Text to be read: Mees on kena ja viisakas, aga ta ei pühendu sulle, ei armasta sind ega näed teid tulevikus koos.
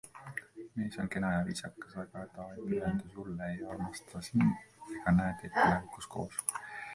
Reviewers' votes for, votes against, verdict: 0, 2, rejected